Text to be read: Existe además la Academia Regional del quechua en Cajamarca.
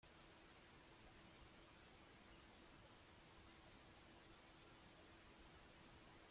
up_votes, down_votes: 0, 2